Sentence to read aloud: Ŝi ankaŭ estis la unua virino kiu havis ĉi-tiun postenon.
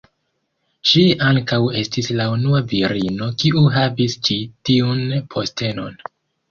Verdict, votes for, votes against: accepted, 2, 1